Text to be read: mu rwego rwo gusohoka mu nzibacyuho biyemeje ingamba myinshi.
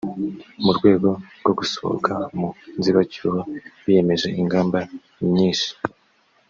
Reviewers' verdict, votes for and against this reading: accepted, 2, 0